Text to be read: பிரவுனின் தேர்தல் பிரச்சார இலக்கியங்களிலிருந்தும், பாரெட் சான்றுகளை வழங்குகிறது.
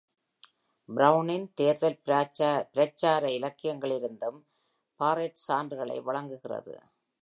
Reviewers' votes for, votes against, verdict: 0, 2, rejected